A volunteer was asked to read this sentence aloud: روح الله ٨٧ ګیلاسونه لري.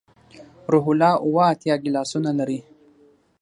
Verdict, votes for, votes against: rejected, 0, 2